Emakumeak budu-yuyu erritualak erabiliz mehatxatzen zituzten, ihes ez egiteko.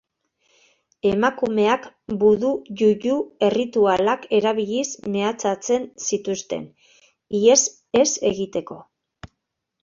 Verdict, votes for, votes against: accepted, 2, 0